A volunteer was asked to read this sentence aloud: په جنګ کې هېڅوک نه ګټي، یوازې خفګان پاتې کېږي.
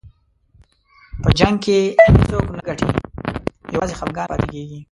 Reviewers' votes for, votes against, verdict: 0, 2, rejected